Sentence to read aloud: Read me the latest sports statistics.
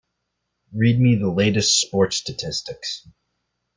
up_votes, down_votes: 2, 0